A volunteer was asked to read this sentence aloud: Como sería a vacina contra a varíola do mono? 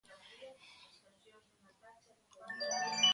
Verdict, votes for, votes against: rejected, 0, 3